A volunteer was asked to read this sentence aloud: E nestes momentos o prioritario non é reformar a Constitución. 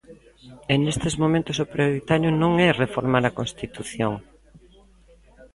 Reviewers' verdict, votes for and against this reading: rejected, 0, 2